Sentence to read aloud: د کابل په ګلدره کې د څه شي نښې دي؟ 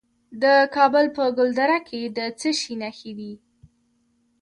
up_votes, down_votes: 2, 1